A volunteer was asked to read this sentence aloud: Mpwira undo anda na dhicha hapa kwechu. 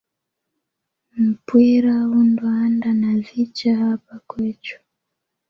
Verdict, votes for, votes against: accepted, 2, 1